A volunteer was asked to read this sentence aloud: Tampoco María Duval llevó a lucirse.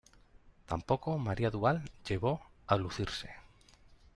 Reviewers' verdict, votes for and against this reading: rejected, 0, 2